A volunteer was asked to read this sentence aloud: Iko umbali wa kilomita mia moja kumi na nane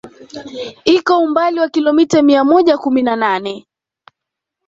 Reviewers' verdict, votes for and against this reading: accepted, 2, 0